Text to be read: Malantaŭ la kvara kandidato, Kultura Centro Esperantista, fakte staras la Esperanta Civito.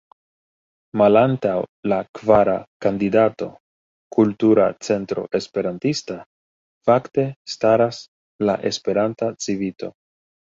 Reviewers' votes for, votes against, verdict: 2, 0, accepted